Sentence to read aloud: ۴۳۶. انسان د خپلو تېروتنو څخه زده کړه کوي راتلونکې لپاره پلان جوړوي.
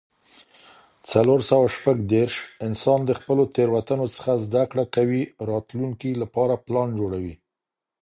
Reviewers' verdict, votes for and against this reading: rejected, 0, 2